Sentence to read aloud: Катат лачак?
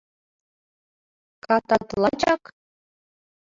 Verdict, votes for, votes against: rejected, 1, 2